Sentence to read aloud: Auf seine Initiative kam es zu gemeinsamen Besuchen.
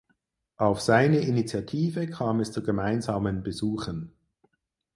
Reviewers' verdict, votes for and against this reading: accepted, 4, 0